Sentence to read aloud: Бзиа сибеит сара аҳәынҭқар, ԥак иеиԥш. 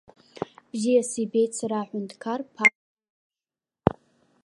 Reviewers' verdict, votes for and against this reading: rejected, 0, 2